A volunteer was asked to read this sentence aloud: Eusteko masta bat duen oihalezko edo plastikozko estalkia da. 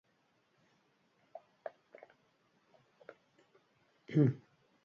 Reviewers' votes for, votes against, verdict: 0, 3, rejected